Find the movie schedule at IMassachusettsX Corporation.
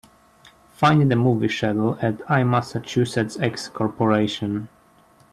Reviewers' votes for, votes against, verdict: 4, 0, accepted